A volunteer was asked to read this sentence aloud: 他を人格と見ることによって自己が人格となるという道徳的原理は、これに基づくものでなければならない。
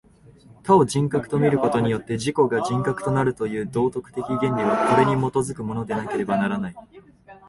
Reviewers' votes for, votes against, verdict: 1, 2, rejected